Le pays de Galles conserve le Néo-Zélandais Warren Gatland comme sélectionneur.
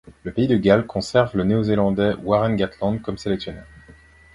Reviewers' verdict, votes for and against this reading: accepted, 2, 0